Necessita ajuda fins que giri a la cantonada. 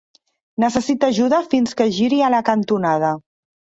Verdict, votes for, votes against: accepted, 3, 0